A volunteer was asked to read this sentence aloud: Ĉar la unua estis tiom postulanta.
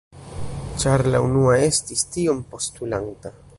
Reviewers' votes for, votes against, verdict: 3, 0, accepted